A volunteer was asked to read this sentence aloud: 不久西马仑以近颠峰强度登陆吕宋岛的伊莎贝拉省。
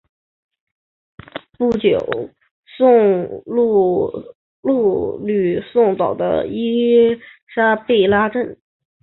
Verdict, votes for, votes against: rejected, 0, 2